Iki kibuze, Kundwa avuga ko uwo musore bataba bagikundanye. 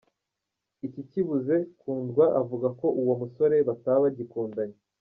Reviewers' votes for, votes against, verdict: 1, 2, rejected